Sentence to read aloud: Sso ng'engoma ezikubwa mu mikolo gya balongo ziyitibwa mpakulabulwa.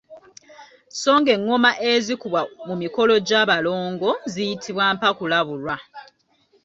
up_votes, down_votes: 2, 0